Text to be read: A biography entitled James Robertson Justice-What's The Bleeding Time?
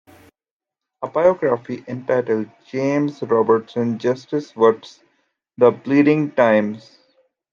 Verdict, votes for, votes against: rejected, 1, 2